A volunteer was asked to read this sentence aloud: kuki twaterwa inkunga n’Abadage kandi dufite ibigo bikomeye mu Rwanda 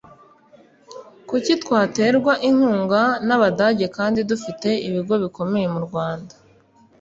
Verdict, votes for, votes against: accepted, 2, 0